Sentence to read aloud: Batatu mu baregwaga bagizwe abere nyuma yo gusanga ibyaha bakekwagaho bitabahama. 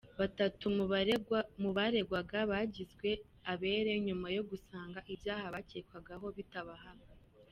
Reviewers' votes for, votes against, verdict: 0, 2, rejected